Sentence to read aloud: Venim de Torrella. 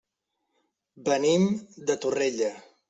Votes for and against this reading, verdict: 3, 0, accepted